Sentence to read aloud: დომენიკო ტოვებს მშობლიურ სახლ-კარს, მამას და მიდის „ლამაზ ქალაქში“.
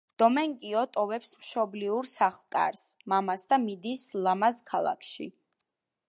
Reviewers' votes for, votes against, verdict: 1, 2, rejected